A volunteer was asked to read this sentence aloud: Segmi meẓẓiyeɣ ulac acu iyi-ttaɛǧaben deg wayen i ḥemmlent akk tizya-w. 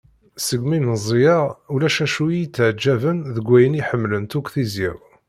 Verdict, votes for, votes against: accepted, 2, 0